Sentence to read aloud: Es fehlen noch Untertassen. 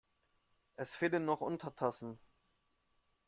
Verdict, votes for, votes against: accepted, 2, 1